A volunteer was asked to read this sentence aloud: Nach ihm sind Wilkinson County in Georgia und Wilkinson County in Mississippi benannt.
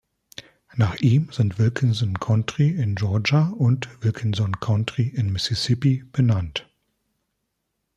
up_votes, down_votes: 0, 2